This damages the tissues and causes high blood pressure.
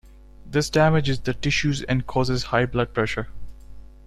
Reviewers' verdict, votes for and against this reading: accepted, 2, 0